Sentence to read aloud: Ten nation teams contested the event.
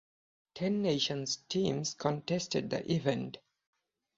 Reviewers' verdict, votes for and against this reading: rejected, 2, 4